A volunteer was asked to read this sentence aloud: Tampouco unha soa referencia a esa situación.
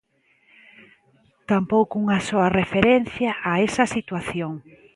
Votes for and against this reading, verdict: 2, 0, accepted